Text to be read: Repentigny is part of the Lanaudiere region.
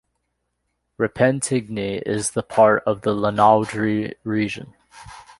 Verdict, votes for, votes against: rejected, 1, 2